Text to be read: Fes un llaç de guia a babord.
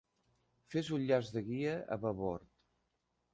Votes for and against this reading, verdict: 2, 0, accepted